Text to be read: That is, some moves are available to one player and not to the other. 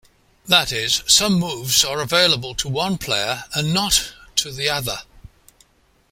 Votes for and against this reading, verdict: 2, 0, accepted